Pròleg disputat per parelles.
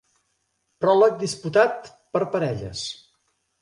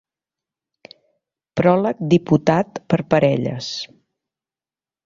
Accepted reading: first